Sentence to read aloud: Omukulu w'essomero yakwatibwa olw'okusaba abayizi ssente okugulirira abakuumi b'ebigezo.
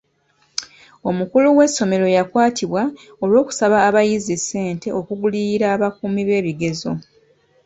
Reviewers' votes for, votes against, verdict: 2, 0, accepted